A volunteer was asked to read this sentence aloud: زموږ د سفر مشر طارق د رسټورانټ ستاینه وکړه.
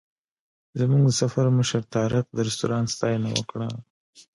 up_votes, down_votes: 2, 1